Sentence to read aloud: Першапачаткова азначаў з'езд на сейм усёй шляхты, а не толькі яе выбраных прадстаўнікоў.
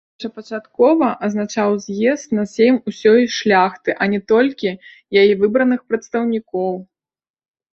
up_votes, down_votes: 2, 3